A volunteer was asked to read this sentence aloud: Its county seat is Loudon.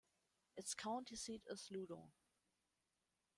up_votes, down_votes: 0, 2